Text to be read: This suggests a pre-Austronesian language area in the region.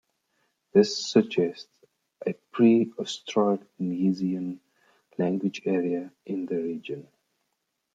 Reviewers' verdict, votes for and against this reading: rejected, 0, 2